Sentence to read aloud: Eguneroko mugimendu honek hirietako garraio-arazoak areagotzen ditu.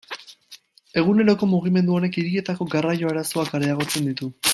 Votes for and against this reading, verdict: 0, 2, rejected